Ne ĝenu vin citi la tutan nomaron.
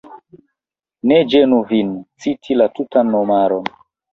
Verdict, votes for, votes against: rejected, 0, 3